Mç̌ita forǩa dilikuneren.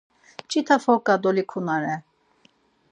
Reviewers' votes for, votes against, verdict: 2, 4, rejected